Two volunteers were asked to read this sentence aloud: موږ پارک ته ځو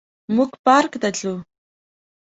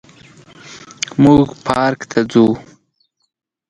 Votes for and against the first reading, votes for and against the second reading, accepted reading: 0, 2, 2, 0, second